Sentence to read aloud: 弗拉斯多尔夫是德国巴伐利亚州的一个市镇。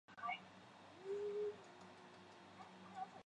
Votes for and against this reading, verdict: 1, 3, rejected